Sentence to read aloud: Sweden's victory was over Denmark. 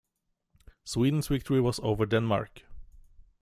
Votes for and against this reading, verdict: 2, 0, accepted